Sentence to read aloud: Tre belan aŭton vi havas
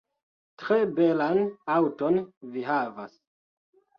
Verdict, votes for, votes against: rejected, 1, 2